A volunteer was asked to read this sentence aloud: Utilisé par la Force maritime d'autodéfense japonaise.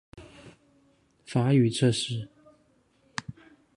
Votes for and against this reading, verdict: 0, 2, rejected